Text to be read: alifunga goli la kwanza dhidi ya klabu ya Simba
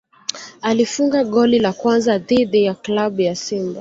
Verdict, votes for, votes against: accepted, 2, 0